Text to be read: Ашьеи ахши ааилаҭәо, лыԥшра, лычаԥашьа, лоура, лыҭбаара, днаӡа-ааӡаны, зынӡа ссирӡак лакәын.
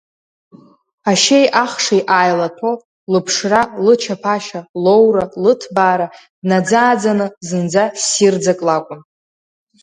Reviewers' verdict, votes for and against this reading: accepted, 2, 0